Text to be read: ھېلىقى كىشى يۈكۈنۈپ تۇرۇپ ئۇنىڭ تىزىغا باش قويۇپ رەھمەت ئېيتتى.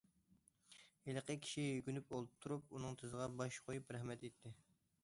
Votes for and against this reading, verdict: 0, 2, rejected